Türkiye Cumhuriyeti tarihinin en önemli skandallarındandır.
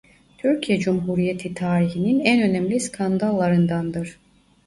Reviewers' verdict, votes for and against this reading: rejected, 0, 2